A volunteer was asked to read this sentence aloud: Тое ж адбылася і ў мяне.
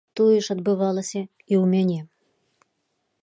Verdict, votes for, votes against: rejected, 0, 2